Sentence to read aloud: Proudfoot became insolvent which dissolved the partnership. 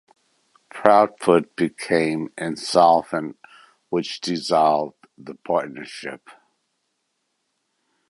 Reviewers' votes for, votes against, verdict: 2, 0, accepted